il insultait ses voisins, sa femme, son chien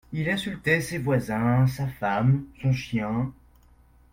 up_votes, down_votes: 2, 0